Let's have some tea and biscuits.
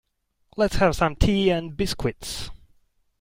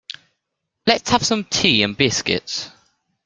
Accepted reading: second